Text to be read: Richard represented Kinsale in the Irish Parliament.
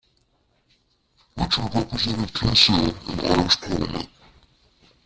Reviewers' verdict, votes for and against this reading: rejected, 1, 2